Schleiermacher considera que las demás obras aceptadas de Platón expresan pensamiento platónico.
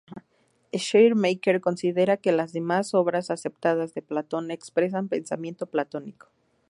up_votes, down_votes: 4, 0